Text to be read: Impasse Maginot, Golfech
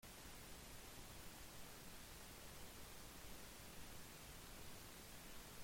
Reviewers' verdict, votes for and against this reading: rejected, 0, 2